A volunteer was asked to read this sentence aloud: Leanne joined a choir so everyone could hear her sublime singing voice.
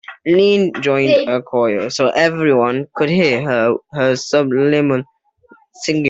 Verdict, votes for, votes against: rejected, 0, 2